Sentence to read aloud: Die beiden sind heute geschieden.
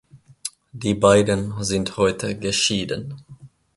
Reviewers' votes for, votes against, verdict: 3, 0, accepted